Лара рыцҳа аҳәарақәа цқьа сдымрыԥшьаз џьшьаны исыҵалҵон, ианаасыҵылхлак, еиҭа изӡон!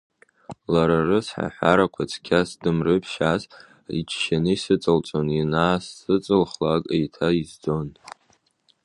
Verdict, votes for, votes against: rejected, 0, 2